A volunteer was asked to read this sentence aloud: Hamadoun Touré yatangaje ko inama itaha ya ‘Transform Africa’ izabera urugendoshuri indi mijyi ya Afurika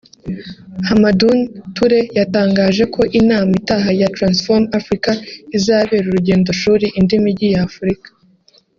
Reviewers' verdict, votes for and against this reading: rejected, 0, 2